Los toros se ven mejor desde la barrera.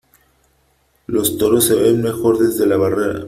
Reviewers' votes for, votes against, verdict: 3, 0, accepted